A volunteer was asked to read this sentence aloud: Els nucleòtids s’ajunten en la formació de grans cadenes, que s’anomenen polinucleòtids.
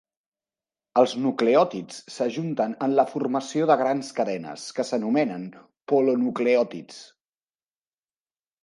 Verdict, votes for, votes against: rejected, 1, 2